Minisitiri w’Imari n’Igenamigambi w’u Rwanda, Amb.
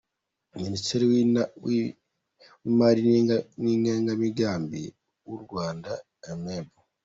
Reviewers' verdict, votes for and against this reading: rejected, 0, 2